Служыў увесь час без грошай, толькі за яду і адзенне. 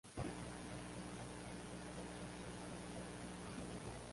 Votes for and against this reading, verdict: 0, 3, rejected